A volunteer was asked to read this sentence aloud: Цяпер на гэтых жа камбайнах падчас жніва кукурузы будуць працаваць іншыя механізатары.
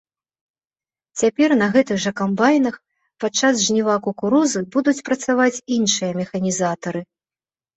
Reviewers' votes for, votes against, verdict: 1, 2, rejected